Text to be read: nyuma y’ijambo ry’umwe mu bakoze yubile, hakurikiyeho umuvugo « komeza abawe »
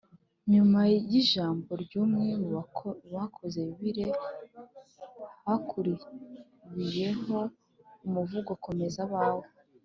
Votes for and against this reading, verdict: 3, 2, accepted